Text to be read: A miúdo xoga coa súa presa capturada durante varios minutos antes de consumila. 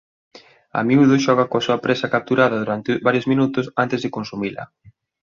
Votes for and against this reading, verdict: 3, 0, accepted